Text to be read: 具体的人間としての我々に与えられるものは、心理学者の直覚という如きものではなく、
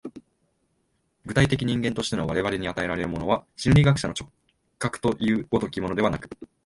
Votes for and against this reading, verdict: 0, 2, rejected